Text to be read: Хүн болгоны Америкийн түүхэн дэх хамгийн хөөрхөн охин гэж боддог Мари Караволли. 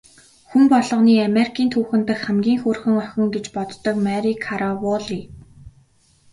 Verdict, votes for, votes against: accepted, 2, 0